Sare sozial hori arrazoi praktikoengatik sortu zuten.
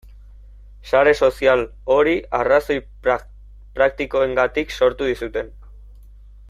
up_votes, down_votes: 1, 2